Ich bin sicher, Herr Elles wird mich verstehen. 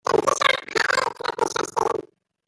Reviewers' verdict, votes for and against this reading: rejected, 0, 2